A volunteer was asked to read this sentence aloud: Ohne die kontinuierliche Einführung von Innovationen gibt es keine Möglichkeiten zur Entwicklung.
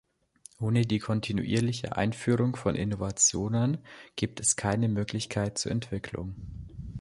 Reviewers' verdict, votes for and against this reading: rejected, 1, 2